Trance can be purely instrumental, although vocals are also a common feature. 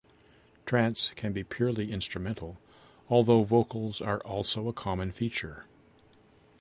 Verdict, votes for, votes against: accepted, 2, 0